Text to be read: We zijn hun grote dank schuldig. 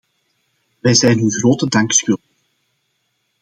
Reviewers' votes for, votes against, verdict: 1, 2, rejected